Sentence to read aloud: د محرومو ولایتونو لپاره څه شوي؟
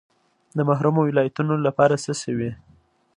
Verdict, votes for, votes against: accepted, 2, 0